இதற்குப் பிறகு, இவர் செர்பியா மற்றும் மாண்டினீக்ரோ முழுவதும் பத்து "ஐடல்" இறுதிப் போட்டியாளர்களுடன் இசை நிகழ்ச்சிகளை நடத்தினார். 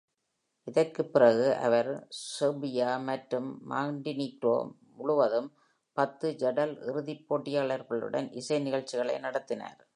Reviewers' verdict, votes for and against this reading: accepted, 2, 0